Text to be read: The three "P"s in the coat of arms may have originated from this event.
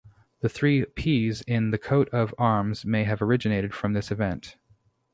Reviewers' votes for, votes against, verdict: 2, 0, accepted